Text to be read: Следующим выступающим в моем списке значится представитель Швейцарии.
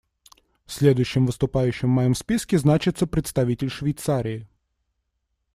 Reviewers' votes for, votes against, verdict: 2, 0, accepted